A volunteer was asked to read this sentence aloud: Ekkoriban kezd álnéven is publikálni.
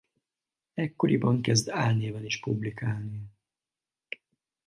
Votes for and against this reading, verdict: 4, 0, accepted